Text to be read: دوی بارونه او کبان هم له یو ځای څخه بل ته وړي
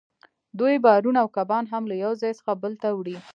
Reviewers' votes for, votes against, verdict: 2, 0, accepted